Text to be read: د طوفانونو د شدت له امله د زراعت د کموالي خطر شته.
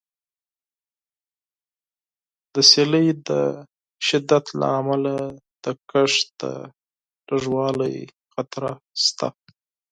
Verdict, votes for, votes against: rejected, 0, 4